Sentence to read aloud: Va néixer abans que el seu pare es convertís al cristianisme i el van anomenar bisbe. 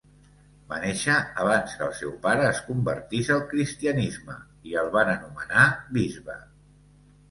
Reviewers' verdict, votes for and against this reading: accepted, 2, 0